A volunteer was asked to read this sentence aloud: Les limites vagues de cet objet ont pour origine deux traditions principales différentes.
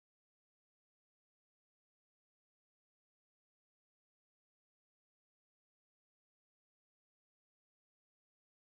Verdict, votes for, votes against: rejected, 0, 2